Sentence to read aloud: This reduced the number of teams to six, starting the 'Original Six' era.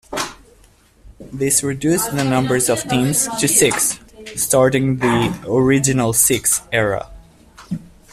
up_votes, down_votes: 1, 2